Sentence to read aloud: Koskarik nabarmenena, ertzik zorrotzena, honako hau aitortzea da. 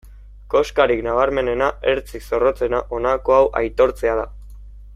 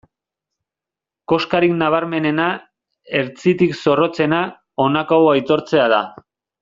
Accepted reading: first